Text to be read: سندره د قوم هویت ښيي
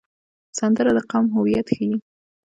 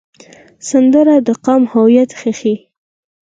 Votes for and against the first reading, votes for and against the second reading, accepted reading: 1, 2, 4, 2, second